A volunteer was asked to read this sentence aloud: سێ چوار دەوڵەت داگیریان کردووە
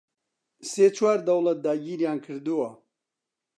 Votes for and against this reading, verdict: 2, 0, accepted